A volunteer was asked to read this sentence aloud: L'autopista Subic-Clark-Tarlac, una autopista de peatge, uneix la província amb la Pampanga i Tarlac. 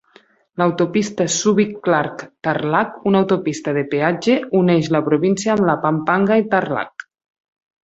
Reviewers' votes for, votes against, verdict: 4, 0, accepted